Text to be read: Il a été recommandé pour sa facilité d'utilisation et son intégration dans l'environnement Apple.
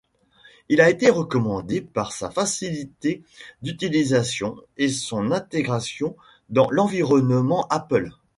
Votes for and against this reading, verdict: 1, 2, rejected